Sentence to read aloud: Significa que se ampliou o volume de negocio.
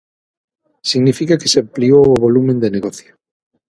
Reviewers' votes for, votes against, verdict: 0, 6, rejected